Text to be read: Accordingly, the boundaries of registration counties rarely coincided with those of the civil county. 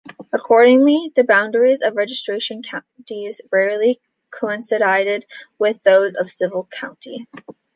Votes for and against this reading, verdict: 0, 2, rejected